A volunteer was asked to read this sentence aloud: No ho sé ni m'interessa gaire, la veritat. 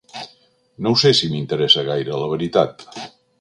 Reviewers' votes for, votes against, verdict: 2, 0, accepted